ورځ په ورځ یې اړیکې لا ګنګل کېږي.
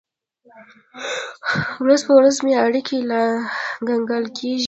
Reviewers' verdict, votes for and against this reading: rejected, 1, 2